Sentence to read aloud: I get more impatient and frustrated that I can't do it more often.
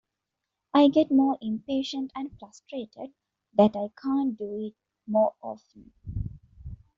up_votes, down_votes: 2, 0